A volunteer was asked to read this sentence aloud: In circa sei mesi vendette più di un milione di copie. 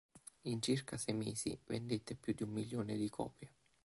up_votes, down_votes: 2, 0